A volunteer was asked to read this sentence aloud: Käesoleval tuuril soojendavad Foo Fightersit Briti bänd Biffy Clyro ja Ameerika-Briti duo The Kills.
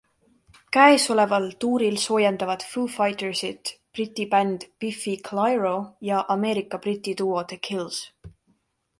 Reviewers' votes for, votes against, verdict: 2, 0, accepted